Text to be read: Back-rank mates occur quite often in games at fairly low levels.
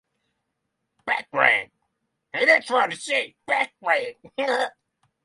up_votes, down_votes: 3, 3